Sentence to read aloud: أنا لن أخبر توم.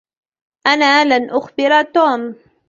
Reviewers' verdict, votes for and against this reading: rejected, 1, 2